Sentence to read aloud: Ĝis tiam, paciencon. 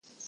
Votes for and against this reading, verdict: 2, 1, accepted